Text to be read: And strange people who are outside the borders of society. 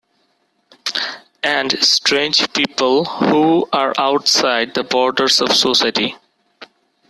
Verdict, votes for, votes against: accepted, 2, 0